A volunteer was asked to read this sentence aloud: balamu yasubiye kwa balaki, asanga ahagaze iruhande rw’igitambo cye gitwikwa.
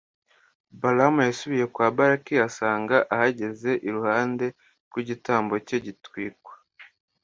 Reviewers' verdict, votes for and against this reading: rejected, 0, 2